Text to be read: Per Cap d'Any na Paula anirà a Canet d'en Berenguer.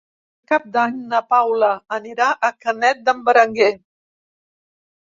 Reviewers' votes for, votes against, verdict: 0, 2, rejected